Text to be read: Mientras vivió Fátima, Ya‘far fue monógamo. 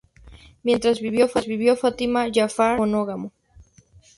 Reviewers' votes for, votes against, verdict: 0, 2, rejected